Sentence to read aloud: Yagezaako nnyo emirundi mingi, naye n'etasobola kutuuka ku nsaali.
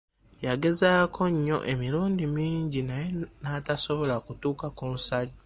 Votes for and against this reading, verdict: 0, 3, rejected